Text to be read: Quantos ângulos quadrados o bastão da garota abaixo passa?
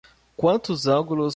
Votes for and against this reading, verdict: 0, 2, rejected